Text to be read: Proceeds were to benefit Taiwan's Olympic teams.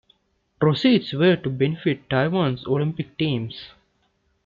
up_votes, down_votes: 2, 0